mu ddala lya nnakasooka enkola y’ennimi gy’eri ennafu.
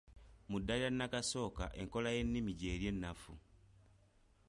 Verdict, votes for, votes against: accepted, 2, 0